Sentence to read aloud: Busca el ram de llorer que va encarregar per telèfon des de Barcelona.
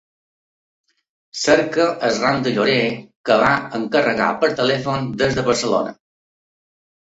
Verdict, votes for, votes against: rejected, 1, 3